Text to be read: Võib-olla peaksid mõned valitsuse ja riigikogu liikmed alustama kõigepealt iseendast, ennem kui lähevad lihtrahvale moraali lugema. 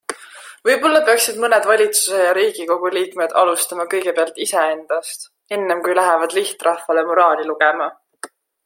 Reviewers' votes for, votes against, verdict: 2, 0, accepted